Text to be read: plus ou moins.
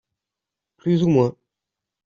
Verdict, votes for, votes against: accepted, 2, 0